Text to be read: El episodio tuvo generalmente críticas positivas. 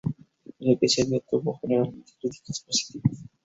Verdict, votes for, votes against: rejected, 0, 2